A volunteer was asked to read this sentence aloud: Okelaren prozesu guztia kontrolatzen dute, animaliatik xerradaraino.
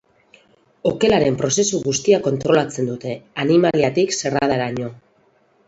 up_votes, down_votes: 4, 0